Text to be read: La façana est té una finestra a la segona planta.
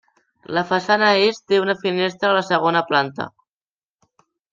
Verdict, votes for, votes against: accepted, 3, 0